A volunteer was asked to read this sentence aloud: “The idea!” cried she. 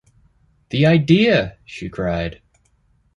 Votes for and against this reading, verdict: 1, 3, rejected